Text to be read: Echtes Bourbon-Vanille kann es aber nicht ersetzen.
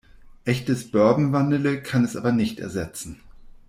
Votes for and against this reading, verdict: 0, 2, rejected